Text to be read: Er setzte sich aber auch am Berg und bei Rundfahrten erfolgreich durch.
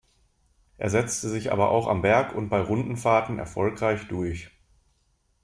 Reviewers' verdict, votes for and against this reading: rejected, 0, 2